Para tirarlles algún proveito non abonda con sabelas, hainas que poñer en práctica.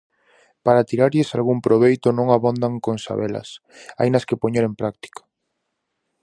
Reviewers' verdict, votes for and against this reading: rejected, 0, 4